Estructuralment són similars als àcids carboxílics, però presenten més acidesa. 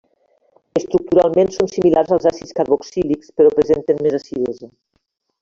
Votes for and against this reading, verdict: 2, 0, accepted